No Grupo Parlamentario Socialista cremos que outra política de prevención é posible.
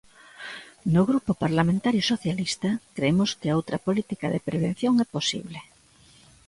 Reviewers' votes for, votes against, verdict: 1, 2, rejected